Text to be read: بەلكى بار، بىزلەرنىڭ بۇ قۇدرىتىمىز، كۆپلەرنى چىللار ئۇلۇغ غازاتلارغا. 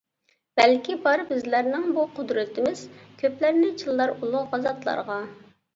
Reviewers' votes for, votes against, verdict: 2, 0, accepted